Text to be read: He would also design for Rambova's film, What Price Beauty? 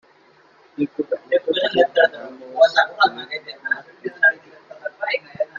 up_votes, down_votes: 0, 2